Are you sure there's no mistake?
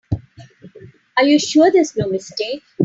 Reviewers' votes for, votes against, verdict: 4, 0, accepted